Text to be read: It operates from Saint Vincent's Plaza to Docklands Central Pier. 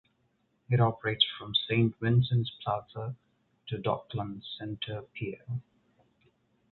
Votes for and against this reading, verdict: 0, 2, rejected